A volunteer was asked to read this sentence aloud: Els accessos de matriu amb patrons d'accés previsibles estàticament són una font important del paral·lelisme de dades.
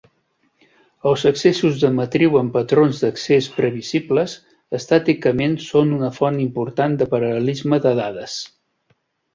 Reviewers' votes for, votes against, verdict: 0, 2, rejected